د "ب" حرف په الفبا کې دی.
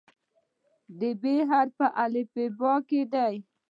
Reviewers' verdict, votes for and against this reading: accepted, 2, 0